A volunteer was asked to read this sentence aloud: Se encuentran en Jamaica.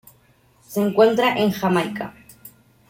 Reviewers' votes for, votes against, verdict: 0, 2, rejected